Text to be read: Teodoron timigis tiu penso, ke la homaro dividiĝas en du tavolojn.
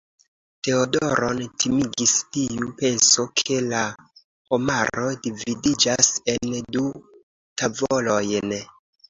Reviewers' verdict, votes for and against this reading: accepted, 2, 0